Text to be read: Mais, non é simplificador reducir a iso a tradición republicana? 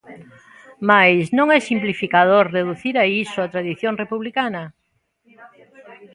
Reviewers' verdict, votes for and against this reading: accepted, 2, 0